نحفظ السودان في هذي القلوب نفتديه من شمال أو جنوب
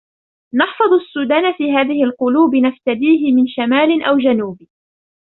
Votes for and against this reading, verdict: 2, 0, accepted